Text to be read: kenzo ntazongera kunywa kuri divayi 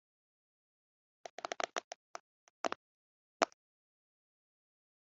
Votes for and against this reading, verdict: 0, 2, rejected